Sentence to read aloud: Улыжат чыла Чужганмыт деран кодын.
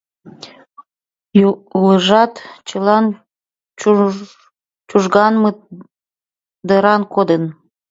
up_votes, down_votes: 2, 1